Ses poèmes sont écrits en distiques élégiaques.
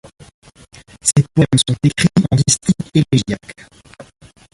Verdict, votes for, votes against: rejected, 1, 2